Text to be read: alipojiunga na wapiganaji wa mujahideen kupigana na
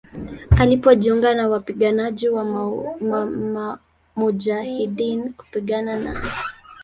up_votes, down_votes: 1, 2